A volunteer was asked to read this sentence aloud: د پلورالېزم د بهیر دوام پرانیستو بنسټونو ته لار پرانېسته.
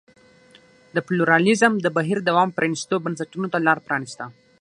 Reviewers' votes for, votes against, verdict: 6, 3, accepted